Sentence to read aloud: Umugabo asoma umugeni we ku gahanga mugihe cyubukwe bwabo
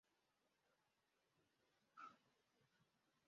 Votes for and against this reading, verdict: 0, 2, rejected